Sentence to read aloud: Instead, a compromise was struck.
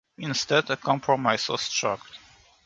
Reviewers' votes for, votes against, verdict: 2, 0, accepted